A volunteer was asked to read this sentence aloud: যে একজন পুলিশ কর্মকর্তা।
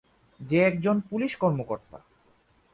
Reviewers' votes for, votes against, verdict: 2, 0, accepted